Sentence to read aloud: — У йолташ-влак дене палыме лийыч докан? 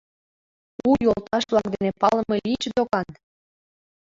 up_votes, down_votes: 2, 1